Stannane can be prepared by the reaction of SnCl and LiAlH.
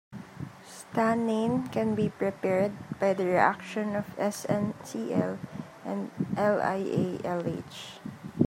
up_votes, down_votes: 1, 2